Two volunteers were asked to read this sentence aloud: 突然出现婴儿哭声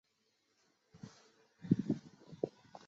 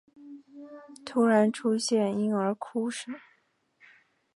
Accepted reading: second